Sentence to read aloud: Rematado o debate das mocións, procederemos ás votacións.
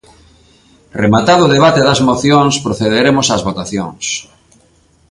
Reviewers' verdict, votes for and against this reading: accepted, 2, 0